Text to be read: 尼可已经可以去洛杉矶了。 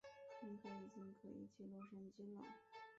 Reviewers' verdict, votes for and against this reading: rejected, 1, 3